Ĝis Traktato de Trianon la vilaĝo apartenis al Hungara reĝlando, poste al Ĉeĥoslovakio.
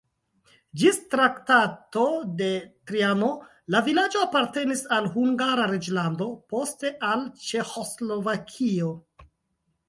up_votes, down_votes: 0, 2